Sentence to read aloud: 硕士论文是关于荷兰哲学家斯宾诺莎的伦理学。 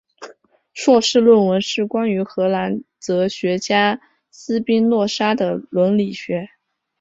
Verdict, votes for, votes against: accepted, 2, 1